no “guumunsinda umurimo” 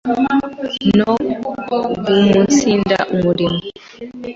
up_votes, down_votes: 3, 1